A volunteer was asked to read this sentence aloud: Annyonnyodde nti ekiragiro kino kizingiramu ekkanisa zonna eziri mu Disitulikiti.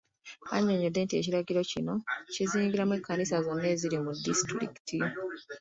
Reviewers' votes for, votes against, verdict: 2, 0, accepted